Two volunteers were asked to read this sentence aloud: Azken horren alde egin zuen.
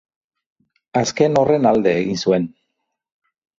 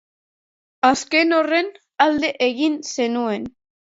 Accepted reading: first